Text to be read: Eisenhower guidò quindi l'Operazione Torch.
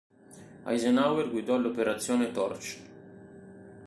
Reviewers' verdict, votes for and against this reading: rejected, 1, 2